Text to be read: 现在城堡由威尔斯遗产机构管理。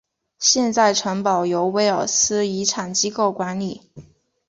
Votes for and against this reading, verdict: 5, 0, accepted